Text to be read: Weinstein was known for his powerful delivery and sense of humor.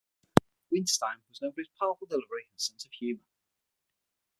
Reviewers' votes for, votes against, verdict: 0, 6, rejected